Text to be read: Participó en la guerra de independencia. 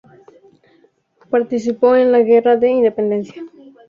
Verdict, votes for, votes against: rejected, 0, 2